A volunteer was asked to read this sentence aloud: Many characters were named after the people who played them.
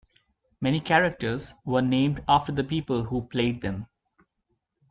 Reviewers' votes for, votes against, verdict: 2, 0, accepted